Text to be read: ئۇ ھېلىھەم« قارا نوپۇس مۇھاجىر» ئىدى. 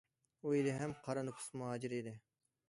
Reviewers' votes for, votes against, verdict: 2, 0, accepted